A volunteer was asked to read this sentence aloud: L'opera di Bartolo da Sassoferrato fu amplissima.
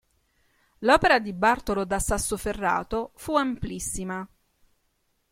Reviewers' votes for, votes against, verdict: 4, 0, accepted